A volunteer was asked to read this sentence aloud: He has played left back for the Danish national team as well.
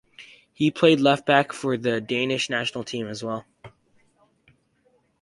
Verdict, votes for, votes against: rejected, 0, 4